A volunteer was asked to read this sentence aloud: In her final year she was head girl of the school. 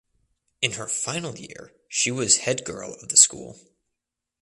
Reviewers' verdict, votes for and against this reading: accepted, 2, 0